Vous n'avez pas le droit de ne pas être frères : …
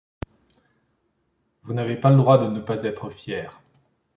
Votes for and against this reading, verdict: 1, 2, rejected